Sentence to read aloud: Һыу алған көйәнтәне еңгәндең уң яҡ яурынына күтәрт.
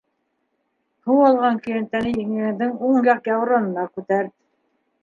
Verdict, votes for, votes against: accepted, 2, 1